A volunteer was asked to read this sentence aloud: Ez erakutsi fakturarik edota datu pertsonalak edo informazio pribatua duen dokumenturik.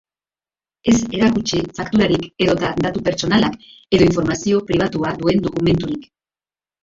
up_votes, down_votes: 1, 2